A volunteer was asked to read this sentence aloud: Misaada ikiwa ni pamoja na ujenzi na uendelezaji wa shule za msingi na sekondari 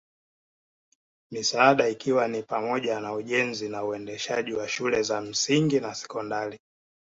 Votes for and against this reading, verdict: 1, 2, rejected